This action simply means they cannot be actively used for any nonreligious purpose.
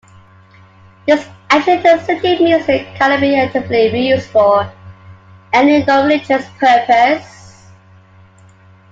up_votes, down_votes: 0, 2